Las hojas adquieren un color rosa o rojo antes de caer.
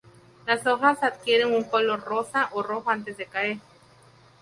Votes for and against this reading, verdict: 2, 0, accepted